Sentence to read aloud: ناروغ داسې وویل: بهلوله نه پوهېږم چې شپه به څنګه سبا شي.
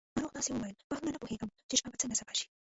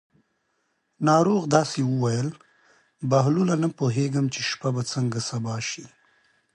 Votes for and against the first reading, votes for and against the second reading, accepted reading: 0, 2, 2, 0, second